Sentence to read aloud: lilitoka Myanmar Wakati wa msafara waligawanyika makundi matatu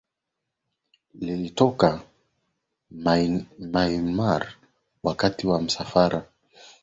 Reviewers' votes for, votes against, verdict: 2, 0, accepted